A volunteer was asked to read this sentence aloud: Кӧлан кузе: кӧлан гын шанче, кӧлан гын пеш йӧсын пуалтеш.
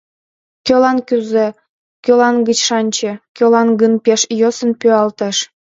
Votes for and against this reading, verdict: 0, 2, rejected